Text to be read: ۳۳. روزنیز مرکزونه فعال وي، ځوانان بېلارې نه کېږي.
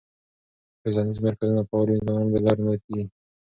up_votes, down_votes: 0, 2